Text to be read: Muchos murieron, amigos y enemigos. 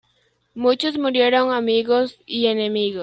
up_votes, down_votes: 2, 1